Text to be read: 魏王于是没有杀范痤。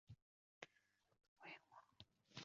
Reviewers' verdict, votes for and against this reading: rejected, 2, 5